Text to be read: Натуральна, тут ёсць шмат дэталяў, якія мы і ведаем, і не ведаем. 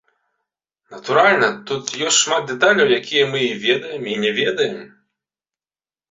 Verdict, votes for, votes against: accepted, 2, 0